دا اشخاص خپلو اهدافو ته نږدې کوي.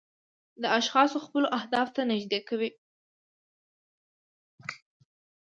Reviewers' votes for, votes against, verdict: 2, 0, accepted